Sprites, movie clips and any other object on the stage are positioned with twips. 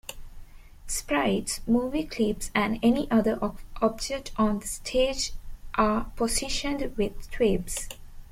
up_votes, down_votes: 1, 2